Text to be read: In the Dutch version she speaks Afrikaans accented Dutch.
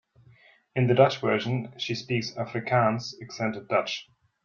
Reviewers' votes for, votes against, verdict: 2, 0, accepted